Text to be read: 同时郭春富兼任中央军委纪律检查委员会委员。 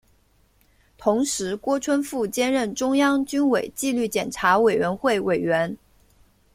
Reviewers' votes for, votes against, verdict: 2, 0, accepted